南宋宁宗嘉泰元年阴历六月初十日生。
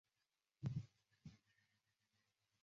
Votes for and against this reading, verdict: 0, 4, rejected